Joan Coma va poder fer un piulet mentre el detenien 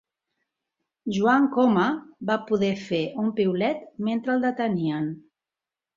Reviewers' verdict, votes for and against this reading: accepted, 2, 1